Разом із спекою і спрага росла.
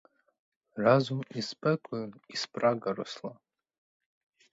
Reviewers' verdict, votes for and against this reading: rejected, 2, 4